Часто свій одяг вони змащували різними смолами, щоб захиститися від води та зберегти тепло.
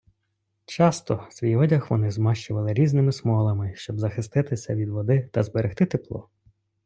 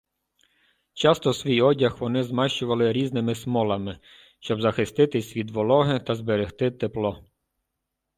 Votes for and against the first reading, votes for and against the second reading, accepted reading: 2, 0, 0, 2, first